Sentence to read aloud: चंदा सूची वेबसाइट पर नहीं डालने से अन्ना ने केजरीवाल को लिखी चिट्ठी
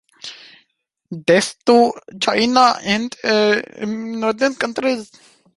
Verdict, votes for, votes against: rejected, 0, 2